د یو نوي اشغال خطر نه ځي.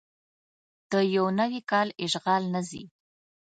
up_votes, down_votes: 1, 2